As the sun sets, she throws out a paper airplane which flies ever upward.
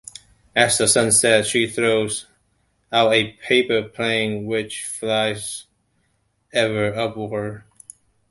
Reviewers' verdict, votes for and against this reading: rejected, 0, 2